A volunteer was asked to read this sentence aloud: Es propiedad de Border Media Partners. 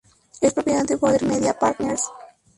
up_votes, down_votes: 0, 2